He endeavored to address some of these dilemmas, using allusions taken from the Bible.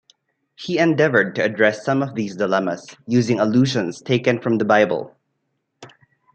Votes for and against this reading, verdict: 2, 0, accepted